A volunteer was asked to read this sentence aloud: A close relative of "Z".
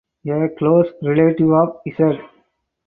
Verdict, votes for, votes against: accepted, 2, 0